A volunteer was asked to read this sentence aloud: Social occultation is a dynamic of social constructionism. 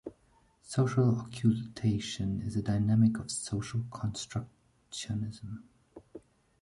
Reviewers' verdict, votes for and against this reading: accepted, 2, 1